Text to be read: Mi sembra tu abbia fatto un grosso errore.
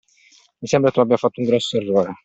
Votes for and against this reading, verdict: 2, 0, accepted